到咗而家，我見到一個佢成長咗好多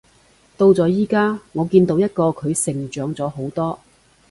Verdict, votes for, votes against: rejected, 1, 2